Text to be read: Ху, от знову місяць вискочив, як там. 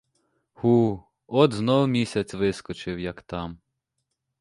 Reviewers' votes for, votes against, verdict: 2, 0, accepted